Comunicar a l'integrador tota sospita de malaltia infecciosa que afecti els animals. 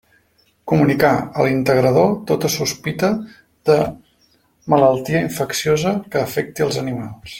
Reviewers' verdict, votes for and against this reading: rejected, 0, 2